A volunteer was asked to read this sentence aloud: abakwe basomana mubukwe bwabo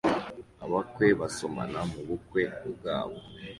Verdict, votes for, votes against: accepted, 2, 0